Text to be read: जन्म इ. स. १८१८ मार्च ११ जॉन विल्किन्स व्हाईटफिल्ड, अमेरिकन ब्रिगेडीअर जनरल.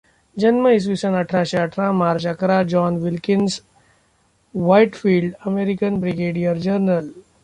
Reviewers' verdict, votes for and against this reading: rejected, 0, 2